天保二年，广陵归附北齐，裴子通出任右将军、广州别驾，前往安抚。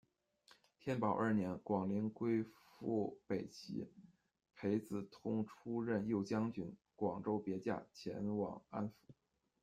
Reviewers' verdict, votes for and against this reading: accepted, 2, 0